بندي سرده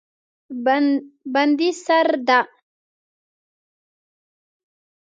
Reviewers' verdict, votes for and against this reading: rejected, 1, 2